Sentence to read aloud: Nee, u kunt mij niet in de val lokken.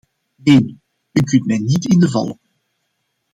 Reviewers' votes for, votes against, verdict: 0, 2, rejected